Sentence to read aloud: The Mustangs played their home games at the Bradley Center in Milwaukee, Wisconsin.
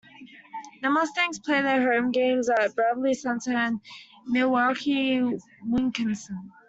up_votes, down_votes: 0, 2